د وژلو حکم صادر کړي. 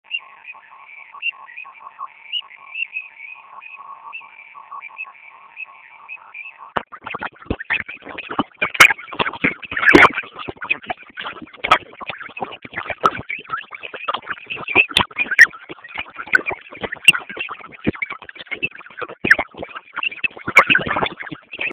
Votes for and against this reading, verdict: 0, 2, rejected